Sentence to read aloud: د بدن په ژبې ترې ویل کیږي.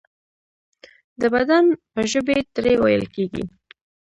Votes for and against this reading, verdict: 1, 2, rejected